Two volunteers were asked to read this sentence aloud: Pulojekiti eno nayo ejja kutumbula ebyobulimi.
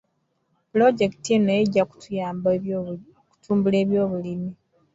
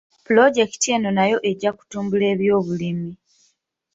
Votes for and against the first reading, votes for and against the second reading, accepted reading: 1, 2, 2, 0, second